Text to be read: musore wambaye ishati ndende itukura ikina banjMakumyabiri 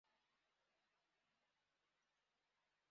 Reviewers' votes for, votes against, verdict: 0, 2, rejected